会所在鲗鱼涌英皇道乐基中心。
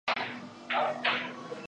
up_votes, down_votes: 0, 5